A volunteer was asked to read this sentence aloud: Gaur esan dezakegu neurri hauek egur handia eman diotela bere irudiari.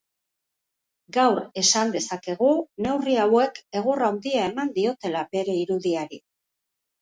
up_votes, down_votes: 2, 1